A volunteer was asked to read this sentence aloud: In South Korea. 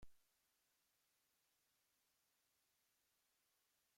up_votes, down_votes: 0, 2